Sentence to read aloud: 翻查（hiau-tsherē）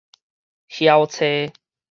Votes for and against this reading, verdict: 4, 0, accepted